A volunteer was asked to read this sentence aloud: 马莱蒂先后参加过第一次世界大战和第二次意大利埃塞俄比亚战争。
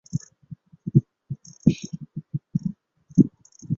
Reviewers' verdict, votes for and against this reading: rejected, 0, 3